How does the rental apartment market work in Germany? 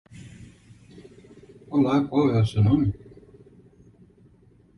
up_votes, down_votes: 0, 2